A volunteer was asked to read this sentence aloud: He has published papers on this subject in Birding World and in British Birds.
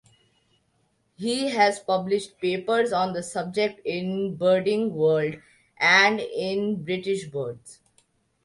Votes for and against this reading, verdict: 2, 0, accepted